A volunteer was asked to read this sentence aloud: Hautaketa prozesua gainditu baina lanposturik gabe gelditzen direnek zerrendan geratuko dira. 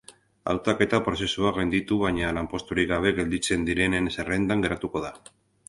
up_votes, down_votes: 0, 4